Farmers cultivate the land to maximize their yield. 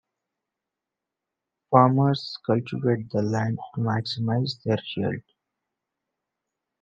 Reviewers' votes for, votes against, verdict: 1, 2, rejected